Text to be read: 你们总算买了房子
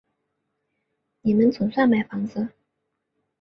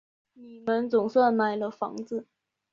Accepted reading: second